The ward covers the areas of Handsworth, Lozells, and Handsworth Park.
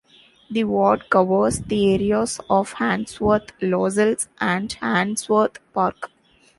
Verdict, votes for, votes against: accepted, 2, 0